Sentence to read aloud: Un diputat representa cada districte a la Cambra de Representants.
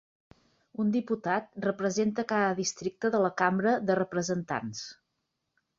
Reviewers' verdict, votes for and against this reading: rejected, 0, 3